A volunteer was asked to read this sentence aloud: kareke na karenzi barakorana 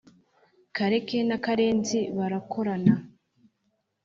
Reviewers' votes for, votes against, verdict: 3, 0, accepted